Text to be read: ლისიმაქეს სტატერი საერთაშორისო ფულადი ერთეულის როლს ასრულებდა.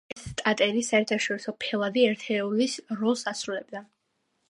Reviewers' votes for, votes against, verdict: 1, 2, rejected